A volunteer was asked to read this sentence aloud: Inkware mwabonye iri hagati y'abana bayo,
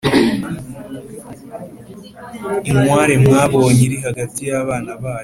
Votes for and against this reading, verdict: 3, 0, accepted